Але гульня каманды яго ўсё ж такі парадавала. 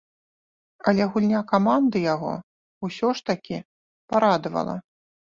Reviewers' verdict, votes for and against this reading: rejected, 1, 2